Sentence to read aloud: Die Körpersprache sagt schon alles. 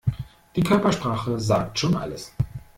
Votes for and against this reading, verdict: 1, 2, rejected